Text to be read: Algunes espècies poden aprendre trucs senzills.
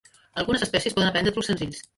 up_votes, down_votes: 0, 2